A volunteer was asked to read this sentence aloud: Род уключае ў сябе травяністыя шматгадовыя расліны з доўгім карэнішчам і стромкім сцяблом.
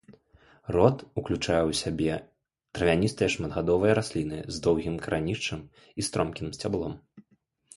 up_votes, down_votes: 2, 0